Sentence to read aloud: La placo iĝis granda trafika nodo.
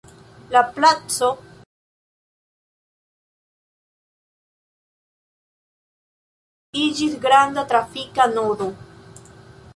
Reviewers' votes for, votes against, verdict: 0, 2, rejected